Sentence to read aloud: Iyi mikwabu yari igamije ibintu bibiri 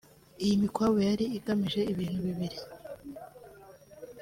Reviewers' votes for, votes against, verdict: 2, 0, accepted